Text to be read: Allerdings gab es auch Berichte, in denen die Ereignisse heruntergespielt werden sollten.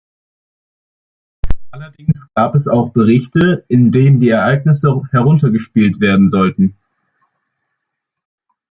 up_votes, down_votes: 2, 1